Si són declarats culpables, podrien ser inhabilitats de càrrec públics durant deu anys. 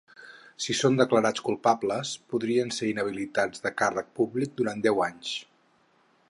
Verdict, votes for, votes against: rejected, 0, 4